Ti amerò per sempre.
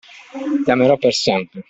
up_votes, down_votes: 2, 0